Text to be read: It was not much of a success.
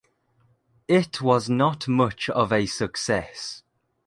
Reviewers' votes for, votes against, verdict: 2, 0, accepted